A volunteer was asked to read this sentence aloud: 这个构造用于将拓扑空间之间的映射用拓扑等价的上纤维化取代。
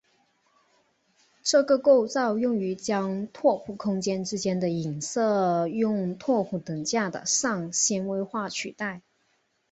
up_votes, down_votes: 3, 0